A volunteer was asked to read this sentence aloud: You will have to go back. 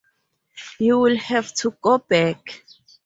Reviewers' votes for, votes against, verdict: 2, 2, rejected